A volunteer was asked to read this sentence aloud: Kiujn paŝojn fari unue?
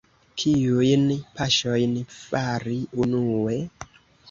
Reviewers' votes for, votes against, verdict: 2, 0, accepted